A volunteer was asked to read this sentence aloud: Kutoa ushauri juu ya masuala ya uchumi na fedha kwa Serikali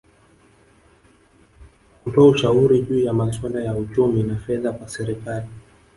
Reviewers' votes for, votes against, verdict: 1, 2, rejected